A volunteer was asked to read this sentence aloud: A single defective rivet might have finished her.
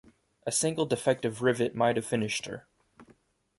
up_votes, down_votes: 2, 0